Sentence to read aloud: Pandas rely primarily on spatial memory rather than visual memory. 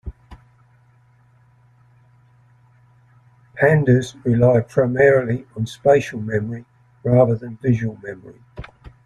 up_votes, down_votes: 2, 0